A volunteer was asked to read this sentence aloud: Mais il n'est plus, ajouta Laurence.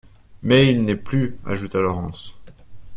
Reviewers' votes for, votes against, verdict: 2, 0, accepted